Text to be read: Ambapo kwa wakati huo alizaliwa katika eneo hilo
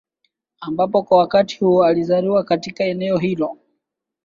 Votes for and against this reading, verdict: 2, 1, accepted